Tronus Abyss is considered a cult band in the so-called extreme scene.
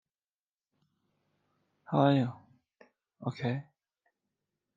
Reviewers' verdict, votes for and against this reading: rejected, 0, 2